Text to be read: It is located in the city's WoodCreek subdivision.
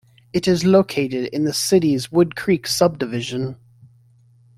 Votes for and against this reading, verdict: 2, 0, accepted